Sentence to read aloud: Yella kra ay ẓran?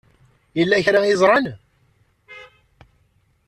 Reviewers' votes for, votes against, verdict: 2, 0, accepted